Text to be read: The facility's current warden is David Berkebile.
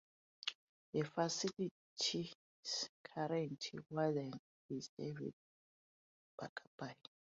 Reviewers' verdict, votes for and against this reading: accepted, 2, 0